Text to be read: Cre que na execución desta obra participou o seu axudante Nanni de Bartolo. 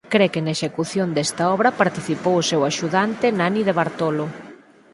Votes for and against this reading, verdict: 4, 0, accepted